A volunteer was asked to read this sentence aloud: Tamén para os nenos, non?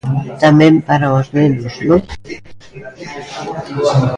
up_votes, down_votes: 0, 2